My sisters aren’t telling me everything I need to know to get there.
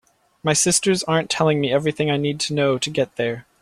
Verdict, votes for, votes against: accepted, 2, 0